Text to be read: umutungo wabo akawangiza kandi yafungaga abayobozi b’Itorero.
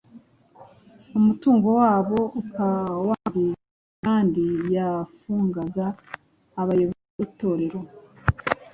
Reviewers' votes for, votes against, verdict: 0, 2, rejected